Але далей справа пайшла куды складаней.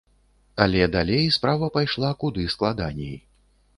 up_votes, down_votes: 3, 0